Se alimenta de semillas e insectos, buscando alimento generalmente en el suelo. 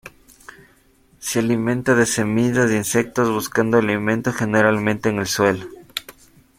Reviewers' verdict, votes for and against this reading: accepted, 2, 0